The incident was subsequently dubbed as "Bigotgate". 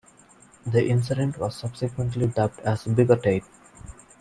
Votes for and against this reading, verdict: 1, 2, rejected